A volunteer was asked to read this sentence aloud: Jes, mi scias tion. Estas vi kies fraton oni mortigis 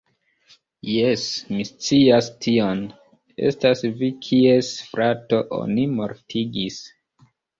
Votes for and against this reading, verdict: 1, 2, rejected